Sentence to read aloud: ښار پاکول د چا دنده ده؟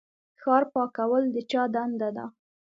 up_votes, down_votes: 2, 0